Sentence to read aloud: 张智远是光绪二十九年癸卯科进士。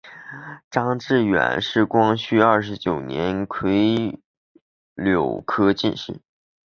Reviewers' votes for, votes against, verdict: 0, 2, rejected